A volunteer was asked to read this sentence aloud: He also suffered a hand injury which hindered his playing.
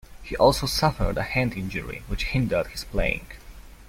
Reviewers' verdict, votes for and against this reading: accepted, 2, 1